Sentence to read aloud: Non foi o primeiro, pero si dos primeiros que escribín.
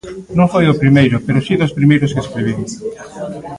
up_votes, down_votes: 0, 2